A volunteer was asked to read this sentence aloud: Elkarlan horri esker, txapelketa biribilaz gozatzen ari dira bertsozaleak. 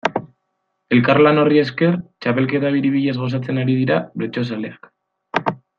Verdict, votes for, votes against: accepted, 2, 0